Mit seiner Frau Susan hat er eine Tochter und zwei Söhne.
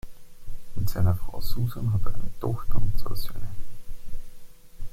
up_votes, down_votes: 2, 0